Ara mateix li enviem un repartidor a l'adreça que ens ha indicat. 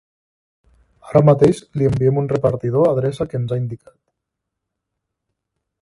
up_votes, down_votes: 1, 2